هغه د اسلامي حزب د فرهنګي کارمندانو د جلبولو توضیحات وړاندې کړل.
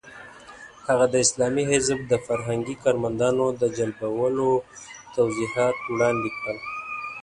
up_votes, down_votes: 0, 2